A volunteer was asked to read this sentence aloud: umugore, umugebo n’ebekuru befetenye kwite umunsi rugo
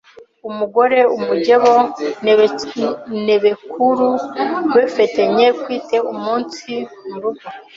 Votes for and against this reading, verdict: 2, 3, rejected